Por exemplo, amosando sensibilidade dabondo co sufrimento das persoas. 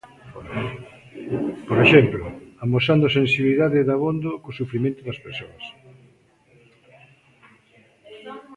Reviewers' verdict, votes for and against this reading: accepted, 2, 0